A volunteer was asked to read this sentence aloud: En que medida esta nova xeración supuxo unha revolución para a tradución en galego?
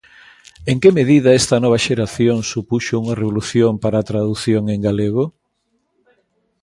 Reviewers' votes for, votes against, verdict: 2, 0, accepted